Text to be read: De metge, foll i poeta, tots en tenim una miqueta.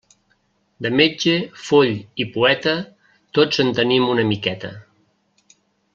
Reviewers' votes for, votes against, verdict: 2, 0, accepted